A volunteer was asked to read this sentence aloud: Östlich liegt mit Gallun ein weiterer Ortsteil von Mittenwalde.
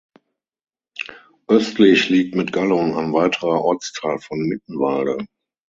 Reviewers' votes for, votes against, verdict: 6, 0, accepted